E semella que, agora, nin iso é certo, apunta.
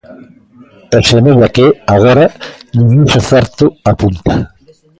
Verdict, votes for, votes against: accepted, 2, 0